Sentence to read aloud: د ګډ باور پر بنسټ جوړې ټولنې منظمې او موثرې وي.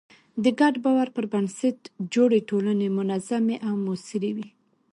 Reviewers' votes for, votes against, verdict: 2, 0, accepted